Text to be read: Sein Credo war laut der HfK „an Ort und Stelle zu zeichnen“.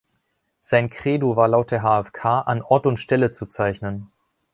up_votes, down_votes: 2, 0